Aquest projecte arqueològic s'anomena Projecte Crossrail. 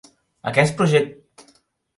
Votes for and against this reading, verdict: 1, 2, rejected